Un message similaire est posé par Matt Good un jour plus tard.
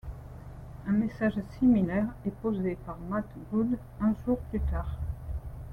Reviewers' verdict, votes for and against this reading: accepted, 2, 0